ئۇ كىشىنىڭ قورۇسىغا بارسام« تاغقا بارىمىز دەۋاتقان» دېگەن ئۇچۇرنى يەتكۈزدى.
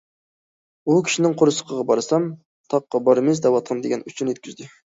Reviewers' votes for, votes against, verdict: 0, 2, rejected